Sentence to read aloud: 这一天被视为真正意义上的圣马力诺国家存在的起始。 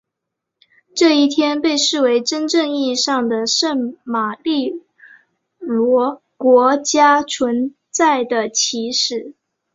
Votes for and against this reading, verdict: 0, 2, rejected